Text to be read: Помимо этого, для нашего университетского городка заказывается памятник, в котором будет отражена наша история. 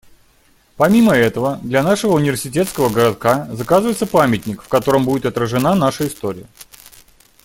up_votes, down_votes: 2, 0